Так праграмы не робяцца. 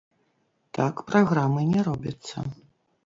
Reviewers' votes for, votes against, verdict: 0, 2, rejected